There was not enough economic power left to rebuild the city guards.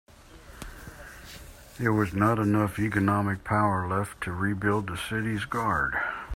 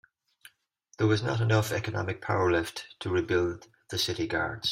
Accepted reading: second